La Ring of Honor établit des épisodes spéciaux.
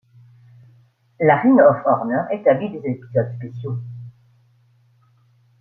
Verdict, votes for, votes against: rejected, 1, 2